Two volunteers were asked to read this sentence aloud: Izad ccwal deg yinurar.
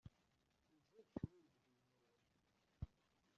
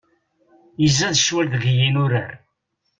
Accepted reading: second